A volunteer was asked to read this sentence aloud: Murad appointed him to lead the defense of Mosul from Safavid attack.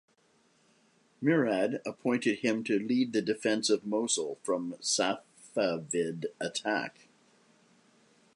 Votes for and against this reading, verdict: 2, 0, accepted